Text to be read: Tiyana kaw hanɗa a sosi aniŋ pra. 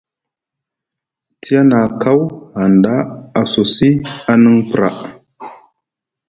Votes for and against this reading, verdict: 2, 0, accepted